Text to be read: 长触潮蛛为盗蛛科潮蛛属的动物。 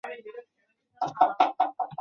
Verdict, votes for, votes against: accepted, 2, 1